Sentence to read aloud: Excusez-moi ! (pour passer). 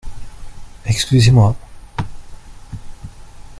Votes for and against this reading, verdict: 1, 2, rejected